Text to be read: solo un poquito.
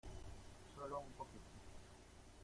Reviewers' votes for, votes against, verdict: 0, 2, rejected